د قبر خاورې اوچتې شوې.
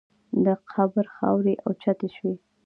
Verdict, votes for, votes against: accepted, 2, 0